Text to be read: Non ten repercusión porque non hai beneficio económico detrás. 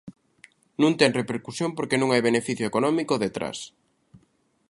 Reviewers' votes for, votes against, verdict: 2, 0, accepted